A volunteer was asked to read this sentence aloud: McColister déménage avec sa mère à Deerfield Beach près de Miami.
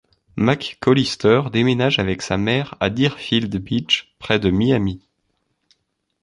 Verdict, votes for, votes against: accepted, 2, 0